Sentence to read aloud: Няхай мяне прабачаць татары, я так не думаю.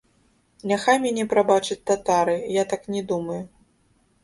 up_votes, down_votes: 1, 2